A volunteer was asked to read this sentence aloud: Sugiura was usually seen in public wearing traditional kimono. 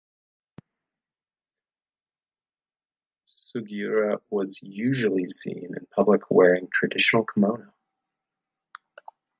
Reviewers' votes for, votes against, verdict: 1, 2, rejected